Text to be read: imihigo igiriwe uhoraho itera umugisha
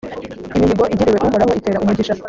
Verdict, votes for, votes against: rejected, 1, 2